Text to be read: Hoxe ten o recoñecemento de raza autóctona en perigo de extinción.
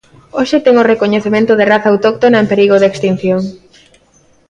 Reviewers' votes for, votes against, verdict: 0, 2, rejected